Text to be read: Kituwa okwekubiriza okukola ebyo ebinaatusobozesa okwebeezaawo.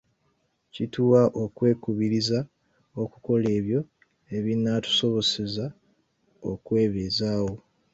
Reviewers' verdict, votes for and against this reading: rejected, 1, 2